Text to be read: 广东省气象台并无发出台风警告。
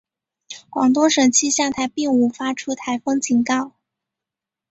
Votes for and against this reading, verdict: 3, 0, accepted